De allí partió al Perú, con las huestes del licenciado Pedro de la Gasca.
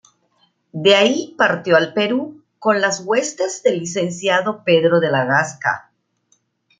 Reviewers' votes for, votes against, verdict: 1, 2, rejected